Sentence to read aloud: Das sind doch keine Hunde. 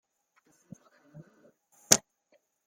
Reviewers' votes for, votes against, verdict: 0, 2, rejected